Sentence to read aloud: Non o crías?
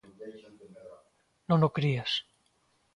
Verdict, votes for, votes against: accepted, 2, 1